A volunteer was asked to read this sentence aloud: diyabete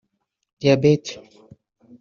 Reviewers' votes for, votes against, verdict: 1, 2, rejected